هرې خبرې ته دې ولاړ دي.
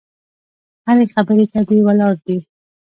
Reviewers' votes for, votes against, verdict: 1, 2, rejected